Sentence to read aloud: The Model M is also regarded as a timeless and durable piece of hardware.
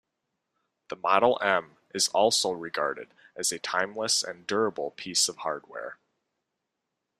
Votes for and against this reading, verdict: 2, 0, accepted